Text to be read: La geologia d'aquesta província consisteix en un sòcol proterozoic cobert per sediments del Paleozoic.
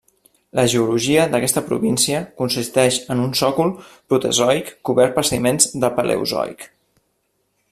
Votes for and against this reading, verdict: 0, 2, rejected